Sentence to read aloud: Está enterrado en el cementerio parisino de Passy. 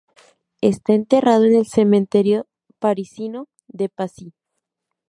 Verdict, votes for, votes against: rejected, 0, 2